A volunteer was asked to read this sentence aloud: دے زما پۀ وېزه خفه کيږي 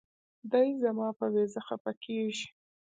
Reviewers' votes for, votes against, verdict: 0, 2, rejected